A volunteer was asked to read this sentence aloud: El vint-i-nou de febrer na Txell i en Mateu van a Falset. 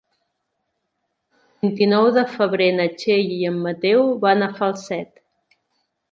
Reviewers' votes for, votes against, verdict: 1, 2, rejected